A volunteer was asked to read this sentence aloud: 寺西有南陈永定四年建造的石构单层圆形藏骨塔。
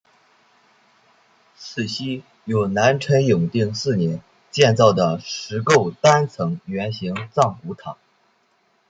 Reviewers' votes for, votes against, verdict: 0, 2, rejected